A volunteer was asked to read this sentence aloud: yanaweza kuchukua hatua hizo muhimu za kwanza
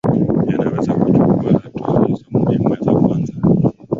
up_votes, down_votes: 2, 1